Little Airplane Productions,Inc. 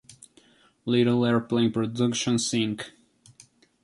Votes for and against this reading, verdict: 2, 0, accepted